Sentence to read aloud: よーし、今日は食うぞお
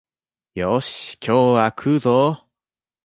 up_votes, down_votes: 2, 0